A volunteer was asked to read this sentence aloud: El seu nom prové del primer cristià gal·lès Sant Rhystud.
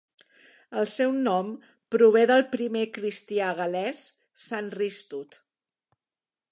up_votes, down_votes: 2, 0